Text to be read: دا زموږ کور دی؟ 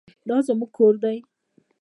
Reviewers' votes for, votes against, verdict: 1, 2, rejected